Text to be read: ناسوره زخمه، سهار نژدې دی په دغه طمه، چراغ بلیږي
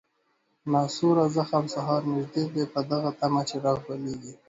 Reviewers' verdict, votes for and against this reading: rejected, 0, 2